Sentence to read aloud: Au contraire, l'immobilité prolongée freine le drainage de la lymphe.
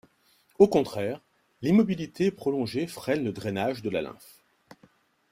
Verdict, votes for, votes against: accepted, 2, 0